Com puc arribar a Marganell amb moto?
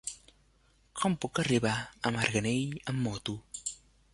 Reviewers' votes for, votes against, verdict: 3, 1, accepted